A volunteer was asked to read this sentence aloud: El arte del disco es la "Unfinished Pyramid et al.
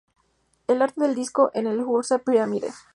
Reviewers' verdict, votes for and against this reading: rejected, 0, 2